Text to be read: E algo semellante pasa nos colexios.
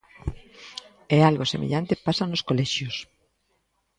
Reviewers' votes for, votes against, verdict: 2, 0, accepted